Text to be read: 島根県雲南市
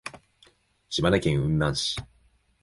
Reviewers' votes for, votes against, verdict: 2, 0, accepted